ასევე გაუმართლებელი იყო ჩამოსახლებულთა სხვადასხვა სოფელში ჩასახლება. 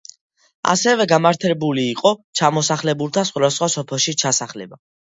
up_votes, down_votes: 2, 1